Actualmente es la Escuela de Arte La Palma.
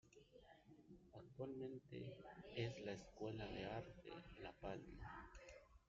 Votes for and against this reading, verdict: 1, 2, rejected